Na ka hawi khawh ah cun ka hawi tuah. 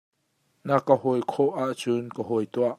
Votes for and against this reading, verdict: 2, 0, accepted